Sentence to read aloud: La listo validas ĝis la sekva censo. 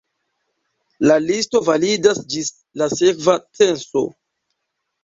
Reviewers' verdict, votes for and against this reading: accepted, 2, 0